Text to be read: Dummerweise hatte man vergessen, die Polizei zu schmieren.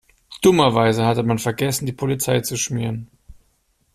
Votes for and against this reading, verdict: 2, 0, accepted